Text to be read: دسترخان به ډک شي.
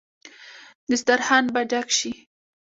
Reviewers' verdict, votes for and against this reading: accepted, 2, 0